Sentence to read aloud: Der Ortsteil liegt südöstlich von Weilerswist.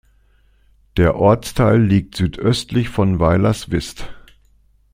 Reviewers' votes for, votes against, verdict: 2, 0, accepted